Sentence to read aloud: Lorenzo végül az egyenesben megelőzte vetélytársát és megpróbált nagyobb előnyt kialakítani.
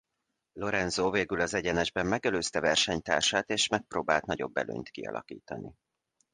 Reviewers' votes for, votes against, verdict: 0, 2, rejected